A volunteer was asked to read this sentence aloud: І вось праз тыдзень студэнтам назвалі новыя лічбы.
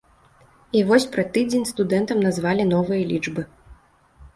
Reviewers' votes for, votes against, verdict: 1, 2, rejected